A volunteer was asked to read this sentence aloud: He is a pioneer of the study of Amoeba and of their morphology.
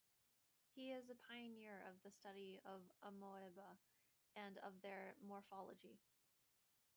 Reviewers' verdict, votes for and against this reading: accepted, 2, 1